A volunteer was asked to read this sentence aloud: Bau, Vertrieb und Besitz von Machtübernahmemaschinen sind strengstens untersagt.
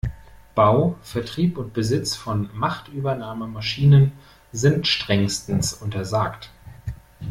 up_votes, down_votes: 2, 0